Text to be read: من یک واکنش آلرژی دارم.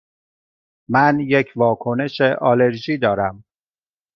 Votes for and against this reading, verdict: 2, 0, accepted